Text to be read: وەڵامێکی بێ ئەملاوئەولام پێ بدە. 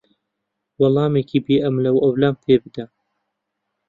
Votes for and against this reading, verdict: 2, 0, accepted